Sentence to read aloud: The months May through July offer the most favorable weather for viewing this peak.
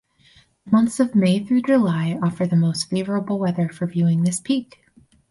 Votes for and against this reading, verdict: 2, 4, rejected